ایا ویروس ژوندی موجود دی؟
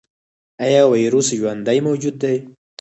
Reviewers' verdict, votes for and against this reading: accepted, 4, 0